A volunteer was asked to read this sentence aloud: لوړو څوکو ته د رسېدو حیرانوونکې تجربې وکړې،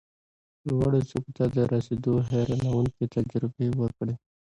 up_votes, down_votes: 2, 0